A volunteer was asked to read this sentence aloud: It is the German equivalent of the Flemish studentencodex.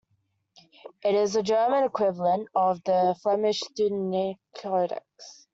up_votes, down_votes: 0, 2